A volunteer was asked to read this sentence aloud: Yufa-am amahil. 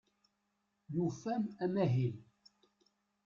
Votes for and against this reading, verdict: 1, 2, rejected